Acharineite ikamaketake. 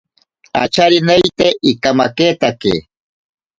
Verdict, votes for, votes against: accepted, 4, 0